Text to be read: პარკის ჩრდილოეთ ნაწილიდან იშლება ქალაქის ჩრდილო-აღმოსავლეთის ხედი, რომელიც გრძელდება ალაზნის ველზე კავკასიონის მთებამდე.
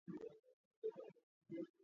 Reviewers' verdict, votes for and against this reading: rejected, 0, 2